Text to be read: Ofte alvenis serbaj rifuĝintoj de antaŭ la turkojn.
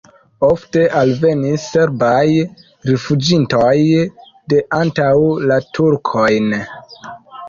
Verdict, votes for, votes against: accepted, 2, 0